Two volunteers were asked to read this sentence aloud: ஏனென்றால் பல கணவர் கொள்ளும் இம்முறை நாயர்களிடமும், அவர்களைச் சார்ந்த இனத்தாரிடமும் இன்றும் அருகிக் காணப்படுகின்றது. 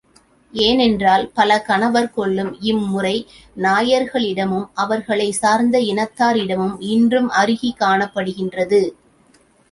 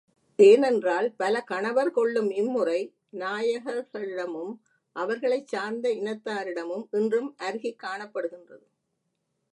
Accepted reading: first